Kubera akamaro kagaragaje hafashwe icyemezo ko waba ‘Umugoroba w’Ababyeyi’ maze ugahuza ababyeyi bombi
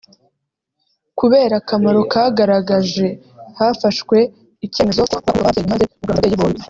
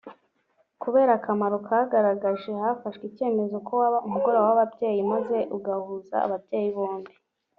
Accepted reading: second